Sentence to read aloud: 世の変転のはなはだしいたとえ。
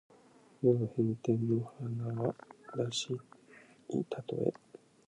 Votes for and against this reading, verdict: 2, 3, rejected